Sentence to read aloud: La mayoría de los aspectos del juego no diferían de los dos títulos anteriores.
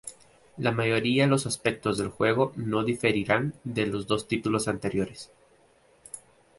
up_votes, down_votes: 0, 2